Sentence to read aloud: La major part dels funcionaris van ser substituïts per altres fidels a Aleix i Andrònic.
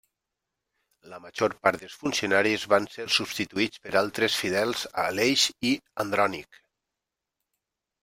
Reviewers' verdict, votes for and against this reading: accepted, 3, 0